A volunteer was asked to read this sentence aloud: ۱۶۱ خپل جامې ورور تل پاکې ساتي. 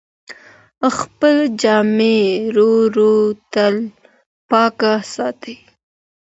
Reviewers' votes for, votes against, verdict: 0, 2, rejected